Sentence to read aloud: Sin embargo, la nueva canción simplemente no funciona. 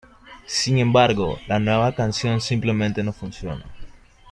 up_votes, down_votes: 2, 0